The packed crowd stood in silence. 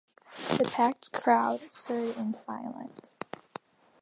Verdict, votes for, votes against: accepted, 3, 2